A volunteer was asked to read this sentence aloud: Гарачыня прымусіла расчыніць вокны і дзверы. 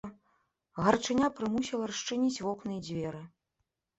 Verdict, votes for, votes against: accepted, 2, 0